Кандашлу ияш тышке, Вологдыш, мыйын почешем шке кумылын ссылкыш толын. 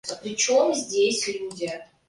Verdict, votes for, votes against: rejected, 0, 2